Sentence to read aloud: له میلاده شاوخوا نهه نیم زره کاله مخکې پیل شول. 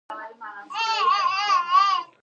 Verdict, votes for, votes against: rejected, 1, 2